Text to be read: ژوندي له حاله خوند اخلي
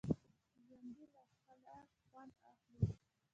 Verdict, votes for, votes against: rejected, 0, 2